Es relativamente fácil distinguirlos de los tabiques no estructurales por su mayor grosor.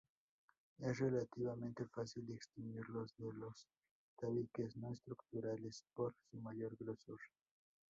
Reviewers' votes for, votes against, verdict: 4, 0, accepted